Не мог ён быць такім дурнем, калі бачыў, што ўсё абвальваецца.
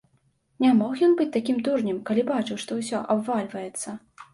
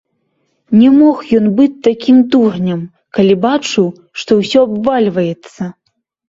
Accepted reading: first